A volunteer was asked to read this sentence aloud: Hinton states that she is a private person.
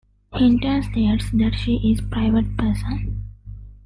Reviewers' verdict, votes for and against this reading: accepted, 2, 1